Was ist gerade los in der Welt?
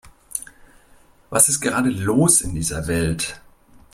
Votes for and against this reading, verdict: 0, 2, rejected